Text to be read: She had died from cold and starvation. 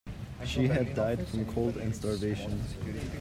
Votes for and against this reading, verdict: 0, 2, rejected